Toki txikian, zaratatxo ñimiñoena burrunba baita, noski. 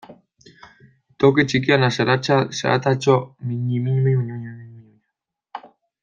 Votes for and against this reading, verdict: 0, 2, rejected